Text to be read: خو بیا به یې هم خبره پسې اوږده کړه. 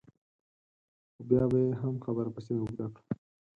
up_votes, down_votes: 2, 4